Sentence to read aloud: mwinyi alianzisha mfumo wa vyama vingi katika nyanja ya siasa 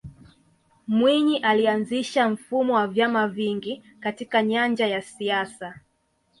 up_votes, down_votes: 3, 0